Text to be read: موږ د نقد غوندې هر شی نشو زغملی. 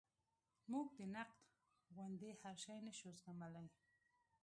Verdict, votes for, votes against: rejected, 1, 2